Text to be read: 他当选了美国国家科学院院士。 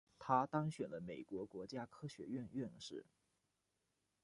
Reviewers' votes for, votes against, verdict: 1, 2, rejected